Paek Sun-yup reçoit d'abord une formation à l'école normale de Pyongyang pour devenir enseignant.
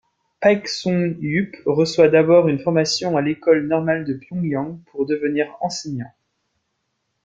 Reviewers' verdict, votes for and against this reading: accepted, 2, 0